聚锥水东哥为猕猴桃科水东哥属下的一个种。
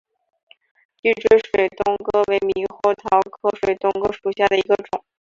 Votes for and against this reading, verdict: 2, 0, accepted